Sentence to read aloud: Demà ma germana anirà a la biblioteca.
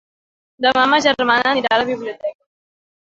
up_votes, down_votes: 1, 2